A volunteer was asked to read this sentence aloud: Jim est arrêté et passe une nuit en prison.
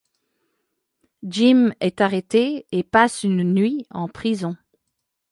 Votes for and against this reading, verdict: 2, 0, accepted